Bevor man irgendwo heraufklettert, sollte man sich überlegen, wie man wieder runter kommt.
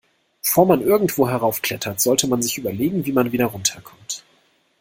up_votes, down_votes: 1, 2